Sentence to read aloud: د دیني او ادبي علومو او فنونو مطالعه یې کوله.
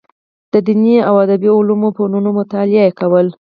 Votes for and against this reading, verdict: 4, 0, accepted